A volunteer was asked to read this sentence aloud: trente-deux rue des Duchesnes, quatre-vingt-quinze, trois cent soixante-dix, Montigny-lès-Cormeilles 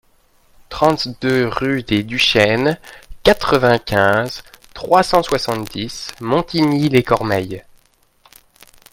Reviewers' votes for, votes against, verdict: 2, 0, accepted